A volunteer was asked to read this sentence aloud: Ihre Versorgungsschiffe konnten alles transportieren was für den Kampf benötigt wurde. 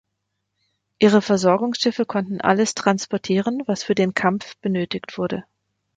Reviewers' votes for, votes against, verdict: 2, 0, accepted